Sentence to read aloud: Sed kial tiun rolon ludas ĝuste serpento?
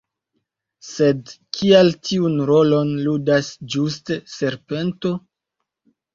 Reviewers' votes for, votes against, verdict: 3, 1, accepted